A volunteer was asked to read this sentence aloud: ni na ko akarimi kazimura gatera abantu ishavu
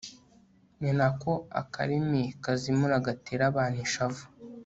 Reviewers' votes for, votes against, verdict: 2, 0, accepted